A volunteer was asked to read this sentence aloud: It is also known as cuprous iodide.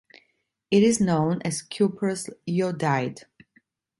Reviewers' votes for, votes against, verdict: 2, 3, rejected